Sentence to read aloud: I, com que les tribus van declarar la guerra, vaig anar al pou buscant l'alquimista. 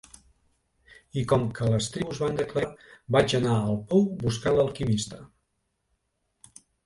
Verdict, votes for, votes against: rejected, 1, 2